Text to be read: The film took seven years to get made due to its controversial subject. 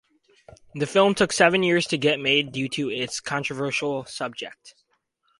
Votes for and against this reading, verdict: 4, 0, accepted